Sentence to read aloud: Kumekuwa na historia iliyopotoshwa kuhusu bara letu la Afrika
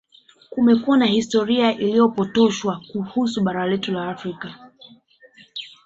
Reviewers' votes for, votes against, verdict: 2, 1, accepted